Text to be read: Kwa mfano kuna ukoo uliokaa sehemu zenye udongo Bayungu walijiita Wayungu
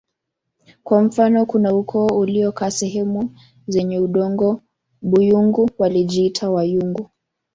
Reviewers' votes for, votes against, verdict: 0, 2, rejected